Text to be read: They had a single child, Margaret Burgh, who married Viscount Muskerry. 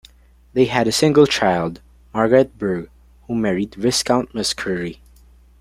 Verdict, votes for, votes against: accepted, 2, 1